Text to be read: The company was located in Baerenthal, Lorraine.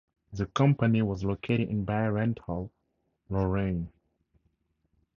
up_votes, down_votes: 2, 0